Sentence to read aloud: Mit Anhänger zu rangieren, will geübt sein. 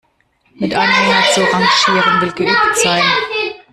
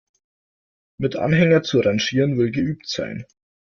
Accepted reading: second